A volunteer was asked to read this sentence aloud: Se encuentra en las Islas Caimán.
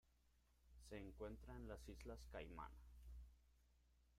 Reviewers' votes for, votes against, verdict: 1, 2, rejected